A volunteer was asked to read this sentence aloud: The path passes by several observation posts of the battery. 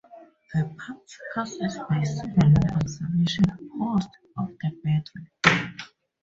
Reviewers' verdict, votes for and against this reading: rejected, 0, 4